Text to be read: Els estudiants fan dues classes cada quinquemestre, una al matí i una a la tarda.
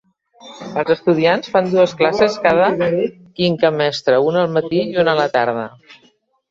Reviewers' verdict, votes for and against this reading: rejected, 0, 2